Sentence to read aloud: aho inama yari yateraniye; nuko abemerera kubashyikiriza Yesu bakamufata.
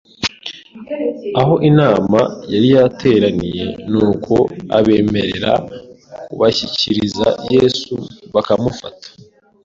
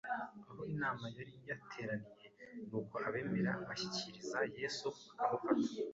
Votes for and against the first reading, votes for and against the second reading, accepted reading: 2, 0, 1, 2, first